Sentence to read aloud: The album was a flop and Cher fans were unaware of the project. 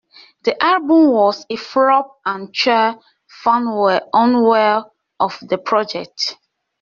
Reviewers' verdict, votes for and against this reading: rejected, 1, 2